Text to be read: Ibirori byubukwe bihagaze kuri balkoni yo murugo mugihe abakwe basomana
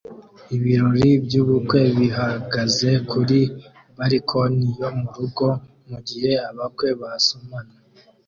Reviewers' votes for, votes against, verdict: 2, 0, accepted